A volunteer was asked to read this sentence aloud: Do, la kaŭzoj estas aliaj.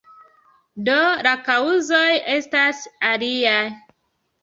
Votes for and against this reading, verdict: 2, 0, accepted